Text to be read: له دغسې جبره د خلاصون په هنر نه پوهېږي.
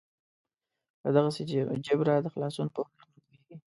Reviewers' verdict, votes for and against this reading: rejected, 1, 2